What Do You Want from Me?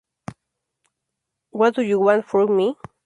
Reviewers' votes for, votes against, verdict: 2, 0, accepted